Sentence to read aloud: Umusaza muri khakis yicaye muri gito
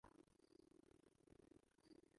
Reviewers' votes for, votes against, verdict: 0, 2, rejected